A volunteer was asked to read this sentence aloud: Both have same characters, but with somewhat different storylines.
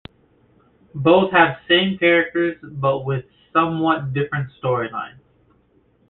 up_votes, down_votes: 2, 0